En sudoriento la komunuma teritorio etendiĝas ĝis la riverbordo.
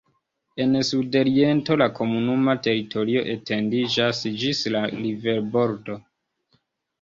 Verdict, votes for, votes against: rejected, 1, 2